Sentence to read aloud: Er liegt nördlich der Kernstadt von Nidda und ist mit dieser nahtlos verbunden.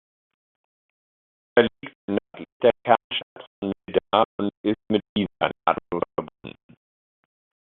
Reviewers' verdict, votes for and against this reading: rejected, 0, 2